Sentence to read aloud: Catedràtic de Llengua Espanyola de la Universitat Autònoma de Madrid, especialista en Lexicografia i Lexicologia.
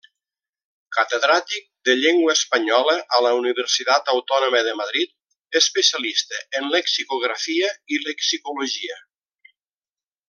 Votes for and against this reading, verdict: 1, 2, rejected